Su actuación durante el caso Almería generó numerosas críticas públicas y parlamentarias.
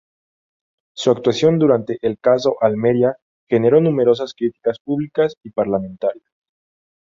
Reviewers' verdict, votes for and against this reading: accepted, 4, 0